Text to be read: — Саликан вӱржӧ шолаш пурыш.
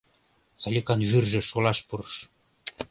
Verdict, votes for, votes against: accepted, 2, 0